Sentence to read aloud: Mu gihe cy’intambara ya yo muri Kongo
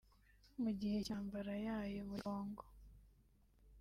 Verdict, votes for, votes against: rejected, 1, 2